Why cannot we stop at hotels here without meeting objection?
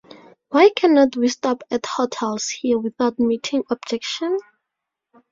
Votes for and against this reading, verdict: 2, 0, accepted